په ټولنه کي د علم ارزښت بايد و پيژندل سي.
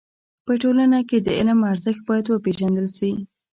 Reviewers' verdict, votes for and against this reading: accepted, 2, 0